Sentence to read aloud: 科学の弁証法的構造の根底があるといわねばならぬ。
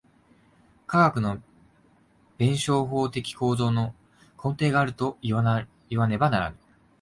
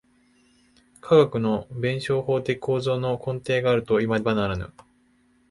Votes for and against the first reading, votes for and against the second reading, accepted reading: 0, 2, 2, 1, second